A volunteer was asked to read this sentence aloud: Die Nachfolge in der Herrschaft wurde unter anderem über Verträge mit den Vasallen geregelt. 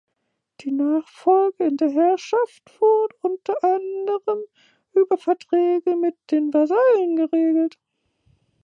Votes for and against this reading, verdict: 1, 2, rejected